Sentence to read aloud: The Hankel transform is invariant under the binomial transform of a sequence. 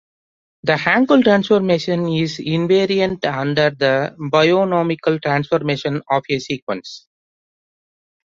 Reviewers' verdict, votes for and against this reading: rejected, 0, 2